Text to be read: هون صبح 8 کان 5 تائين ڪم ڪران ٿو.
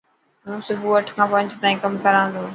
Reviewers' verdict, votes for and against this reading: rejected, 0, 2